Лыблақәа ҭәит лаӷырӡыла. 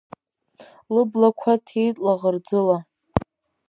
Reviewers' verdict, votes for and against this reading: rejected, 1, 2